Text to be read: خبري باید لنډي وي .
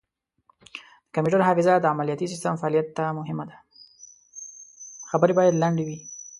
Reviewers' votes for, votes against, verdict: 1, 2, rejected